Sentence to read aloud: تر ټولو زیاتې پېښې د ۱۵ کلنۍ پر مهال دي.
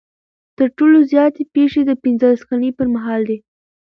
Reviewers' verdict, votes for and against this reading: rejected, 0, 2